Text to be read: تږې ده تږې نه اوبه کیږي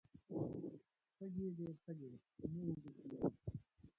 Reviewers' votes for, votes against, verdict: 0, 3, rejected